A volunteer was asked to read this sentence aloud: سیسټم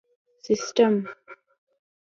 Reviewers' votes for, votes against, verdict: 2, 0, accepted